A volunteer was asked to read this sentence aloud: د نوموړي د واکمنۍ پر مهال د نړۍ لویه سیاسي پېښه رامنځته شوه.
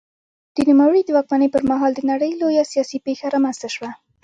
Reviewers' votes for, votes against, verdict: 1, 2, rejected